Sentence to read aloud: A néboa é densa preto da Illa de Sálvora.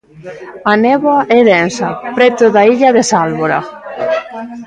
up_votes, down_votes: 0, 2